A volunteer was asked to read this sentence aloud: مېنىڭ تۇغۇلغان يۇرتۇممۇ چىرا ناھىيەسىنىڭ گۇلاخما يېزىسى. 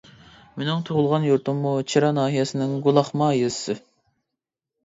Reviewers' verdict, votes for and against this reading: accepted, 2, 1